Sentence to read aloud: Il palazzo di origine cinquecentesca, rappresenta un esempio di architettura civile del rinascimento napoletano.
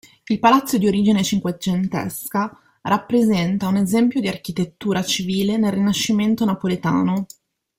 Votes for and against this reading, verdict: 1, 2, rejected